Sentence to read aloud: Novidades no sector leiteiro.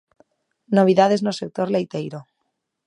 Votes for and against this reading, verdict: 2, 0, accepted